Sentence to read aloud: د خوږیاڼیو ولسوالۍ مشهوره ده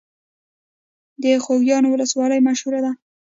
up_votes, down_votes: 1, 2